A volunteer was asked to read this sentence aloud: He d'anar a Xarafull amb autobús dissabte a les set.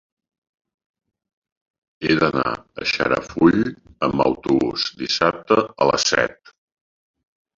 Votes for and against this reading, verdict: 1, 2, rejected